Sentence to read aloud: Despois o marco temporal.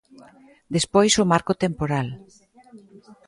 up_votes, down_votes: 1, 2